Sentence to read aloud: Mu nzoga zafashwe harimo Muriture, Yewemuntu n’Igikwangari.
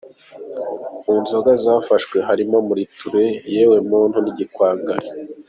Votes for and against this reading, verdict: 2, 0, accepted